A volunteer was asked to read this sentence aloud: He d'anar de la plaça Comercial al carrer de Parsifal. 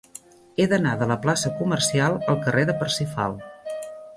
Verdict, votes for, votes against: accepted, 2, 0